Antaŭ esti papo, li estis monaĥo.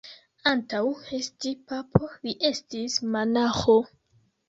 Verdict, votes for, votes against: rejected, 2, 3